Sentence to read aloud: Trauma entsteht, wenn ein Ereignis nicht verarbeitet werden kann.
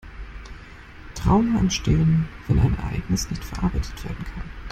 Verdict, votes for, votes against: rejected, 1, 2